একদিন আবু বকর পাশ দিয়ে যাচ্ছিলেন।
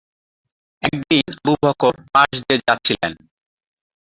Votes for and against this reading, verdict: 0, 4, rejected